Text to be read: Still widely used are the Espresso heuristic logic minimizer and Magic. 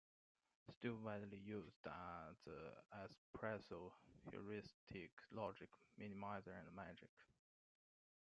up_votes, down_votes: 0, 2